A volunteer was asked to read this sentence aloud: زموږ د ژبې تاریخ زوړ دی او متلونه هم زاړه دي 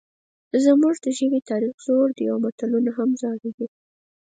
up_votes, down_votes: 4, 0